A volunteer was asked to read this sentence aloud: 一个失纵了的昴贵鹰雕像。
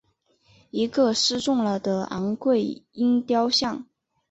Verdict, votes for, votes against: rejected, 0, 2